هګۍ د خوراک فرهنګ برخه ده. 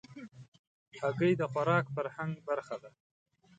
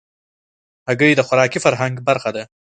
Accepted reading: first